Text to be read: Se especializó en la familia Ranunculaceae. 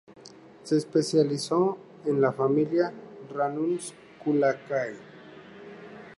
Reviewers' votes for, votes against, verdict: 0, 2, rejected